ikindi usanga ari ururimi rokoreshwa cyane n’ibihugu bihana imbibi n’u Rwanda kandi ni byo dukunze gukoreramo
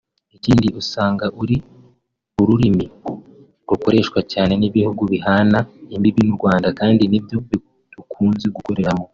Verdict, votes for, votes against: rejected, 0, 2